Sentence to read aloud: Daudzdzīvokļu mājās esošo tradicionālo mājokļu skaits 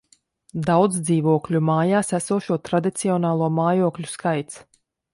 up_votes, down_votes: 2, 0